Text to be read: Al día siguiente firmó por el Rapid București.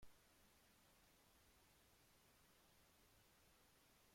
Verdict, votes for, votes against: rejected, 0, 2